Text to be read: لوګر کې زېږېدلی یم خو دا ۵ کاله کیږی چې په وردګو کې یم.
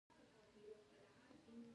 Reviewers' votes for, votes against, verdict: 0, 2, rejected